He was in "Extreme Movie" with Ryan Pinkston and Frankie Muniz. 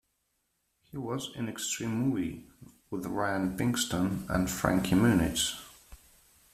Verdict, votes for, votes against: accepted, 2, 0